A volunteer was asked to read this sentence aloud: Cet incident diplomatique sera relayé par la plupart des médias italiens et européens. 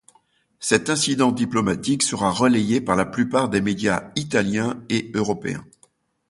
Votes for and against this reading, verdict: 2, 1, accepted